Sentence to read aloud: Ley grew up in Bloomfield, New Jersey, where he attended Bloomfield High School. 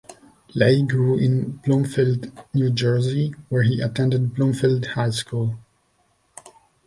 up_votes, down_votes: 1, 2